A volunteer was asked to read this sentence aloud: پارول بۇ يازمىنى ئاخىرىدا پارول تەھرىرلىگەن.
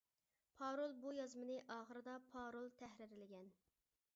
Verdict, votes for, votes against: rejected, 0, 2